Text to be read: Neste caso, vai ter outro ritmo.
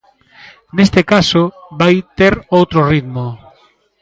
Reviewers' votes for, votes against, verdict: 0, 2, rejected